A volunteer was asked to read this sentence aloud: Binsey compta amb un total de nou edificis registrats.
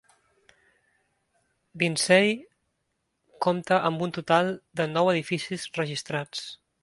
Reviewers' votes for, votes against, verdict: 2, 0, accepted